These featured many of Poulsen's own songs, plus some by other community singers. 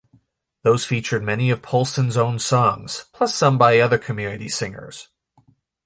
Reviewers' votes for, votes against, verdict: 0, 2, rejected